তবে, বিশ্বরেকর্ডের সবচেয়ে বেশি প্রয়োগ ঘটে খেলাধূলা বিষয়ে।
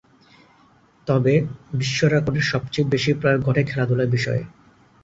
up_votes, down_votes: 2, 2